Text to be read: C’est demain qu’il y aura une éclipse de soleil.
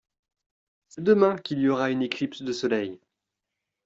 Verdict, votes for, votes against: accepted, 2, 1